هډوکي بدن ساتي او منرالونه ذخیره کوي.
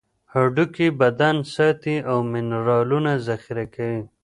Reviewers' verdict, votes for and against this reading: rejected, 1, 2